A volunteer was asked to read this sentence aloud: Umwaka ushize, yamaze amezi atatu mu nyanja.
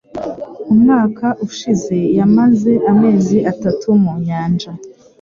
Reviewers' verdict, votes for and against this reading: accepted, 2, 0